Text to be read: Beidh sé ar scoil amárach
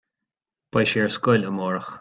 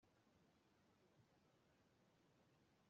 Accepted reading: first